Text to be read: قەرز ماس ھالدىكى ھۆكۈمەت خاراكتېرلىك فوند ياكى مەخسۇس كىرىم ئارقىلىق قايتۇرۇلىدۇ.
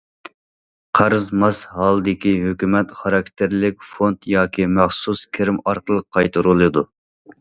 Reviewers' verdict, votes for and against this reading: accepted, 2, 0